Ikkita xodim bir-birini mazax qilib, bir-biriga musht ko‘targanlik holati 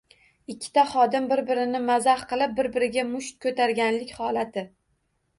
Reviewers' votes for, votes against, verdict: 2, 0, accepted